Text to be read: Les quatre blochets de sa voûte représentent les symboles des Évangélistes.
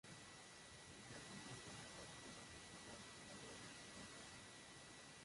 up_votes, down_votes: 0, 2